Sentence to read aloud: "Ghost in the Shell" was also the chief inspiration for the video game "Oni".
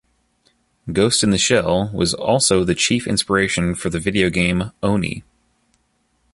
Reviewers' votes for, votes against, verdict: 2, 0, accepted